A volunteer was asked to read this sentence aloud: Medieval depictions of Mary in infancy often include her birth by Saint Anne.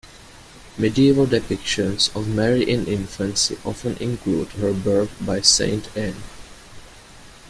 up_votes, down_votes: 2, 0